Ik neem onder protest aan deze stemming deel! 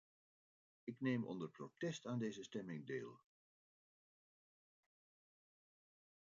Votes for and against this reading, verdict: 0, 2, rejected